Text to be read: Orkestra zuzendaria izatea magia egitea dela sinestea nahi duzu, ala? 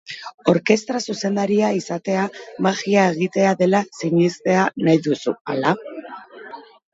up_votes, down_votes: 0, 2